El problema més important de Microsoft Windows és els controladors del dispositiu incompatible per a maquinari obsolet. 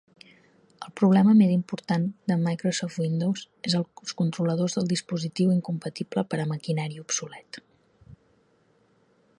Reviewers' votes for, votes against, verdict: 0, 2, rejected